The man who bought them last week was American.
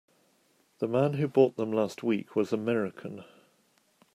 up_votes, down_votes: 3, 0